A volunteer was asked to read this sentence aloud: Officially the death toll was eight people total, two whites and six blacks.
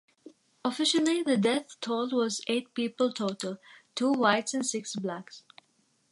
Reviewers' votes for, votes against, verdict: 2, 0, accepted